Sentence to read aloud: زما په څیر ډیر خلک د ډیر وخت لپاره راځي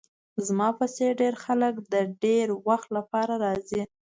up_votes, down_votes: 2, 0